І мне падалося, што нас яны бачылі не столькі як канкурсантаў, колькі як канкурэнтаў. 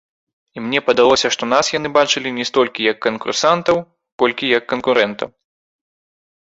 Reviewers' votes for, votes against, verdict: 1, 3, rejected